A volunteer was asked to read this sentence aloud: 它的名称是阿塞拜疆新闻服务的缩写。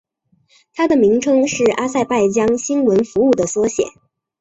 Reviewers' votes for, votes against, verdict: 2, 0, accepted